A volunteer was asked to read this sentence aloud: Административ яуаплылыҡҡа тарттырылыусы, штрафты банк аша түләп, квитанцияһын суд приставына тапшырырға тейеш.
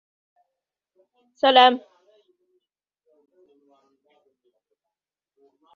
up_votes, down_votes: 0, 2